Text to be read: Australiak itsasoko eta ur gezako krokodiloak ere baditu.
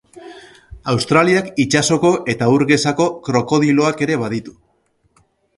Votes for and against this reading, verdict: 3, 1, accepted